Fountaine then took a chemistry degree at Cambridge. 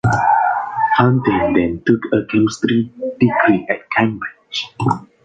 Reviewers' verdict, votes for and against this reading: rejected, 0, 2